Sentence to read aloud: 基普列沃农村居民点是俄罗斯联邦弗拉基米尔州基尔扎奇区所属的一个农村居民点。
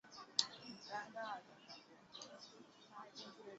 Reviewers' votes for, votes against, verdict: 0, 3, rejected